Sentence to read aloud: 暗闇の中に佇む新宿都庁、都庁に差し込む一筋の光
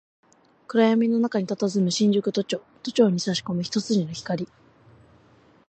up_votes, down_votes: 2, 0